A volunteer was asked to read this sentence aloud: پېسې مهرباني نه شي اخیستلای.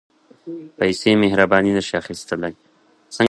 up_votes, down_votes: 2, 0